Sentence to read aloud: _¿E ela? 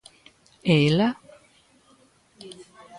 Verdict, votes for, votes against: accepted, 2, 0